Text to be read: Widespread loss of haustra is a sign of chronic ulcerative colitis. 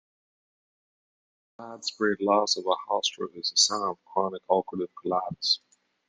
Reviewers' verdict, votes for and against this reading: rejected, 0, 2